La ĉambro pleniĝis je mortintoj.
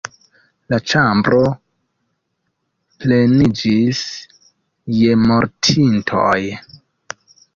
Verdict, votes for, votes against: rejected, 0, 2